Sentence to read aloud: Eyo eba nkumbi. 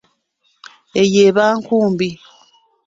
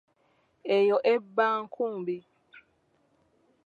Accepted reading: first